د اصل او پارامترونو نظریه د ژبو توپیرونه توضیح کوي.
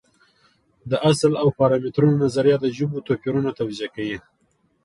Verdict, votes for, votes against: accepted, 2, 0